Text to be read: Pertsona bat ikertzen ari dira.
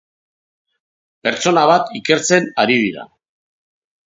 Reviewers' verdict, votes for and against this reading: accepted, 2, 1